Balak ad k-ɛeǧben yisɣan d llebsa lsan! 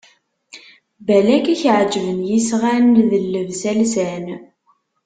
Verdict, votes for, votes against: rejected, 1, 2